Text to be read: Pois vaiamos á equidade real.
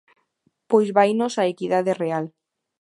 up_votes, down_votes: 0, 2